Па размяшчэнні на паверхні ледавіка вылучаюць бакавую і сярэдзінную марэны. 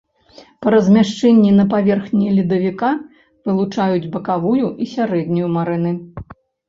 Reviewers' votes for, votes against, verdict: 0, 2, rejected